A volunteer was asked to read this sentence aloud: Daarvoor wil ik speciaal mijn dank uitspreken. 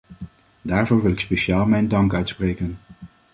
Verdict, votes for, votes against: accepted, 2, 0